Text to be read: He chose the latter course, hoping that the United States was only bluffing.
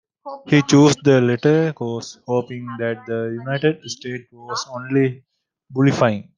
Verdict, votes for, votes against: rejected, 1, 2